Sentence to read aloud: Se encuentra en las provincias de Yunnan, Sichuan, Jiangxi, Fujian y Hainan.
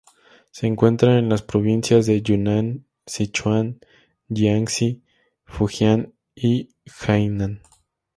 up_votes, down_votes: 2, 0